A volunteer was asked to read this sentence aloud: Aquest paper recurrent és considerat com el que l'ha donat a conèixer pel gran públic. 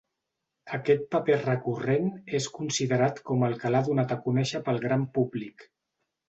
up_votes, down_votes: 2, 0